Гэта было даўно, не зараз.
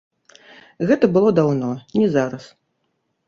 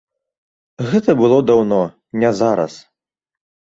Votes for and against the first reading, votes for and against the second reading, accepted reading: 1, 2, 2, 0, second